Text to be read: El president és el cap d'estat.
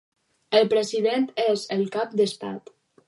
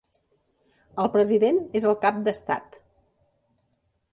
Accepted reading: second